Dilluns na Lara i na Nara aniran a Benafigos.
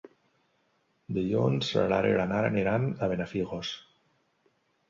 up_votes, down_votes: 1, 2